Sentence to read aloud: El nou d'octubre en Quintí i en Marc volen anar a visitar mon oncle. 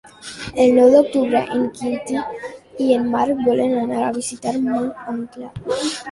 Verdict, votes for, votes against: accepted, 2, 1